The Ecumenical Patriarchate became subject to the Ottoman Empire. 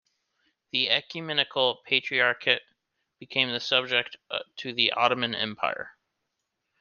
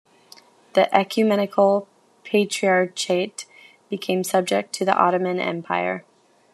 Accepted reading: second